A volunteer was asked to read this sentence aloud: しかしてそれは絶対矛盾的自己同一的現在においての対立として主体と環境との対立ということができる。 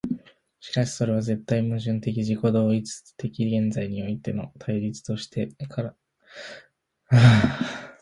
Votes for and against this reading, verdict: 1, 2, rejected